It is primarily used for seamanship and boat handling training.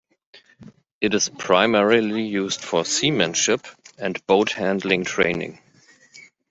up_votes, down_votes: 2, 0